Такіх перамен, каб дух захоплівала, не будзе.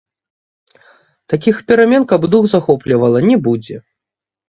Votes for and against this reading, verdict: 0, 3, rejected